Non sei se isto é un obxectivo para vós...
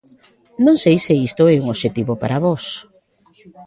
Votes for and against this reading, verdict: 1, 2, rejected